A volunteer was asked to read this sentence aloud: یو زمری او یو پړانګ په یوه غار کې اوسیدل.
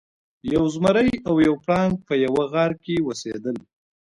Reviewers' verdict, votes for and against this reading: rejected, 1, 2